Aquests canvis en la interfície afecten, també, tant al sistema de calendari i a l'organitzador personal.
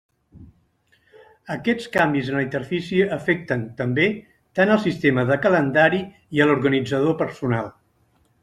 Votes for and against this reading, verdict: 2, 0, accepted